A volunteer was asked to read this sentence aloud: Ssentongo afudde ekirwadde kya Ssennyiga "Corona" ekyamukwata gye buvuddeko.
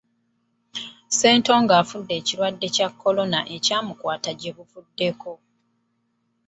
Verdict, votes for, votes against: rejected, 0, 2